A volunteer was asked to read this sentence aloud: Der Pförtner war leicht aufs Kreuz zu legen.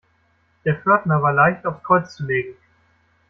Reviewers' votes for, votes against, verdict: 1, 2, rejected